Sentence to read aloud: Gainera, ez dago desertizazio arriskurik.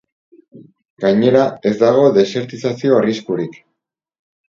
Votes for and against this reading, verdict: 4, 0, accepted